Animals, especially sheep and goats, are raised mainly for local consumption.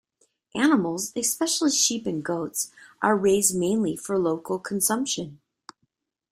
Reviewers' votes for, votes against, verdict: 2, 1, accepted